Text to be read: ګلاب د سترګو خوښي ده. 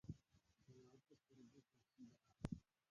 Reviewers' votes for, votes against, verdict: 0, 2, rejected